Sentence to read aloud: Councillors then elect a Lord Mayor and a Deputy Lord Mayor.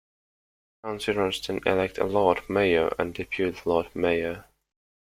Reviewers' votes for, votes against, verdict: 1, 2, rejected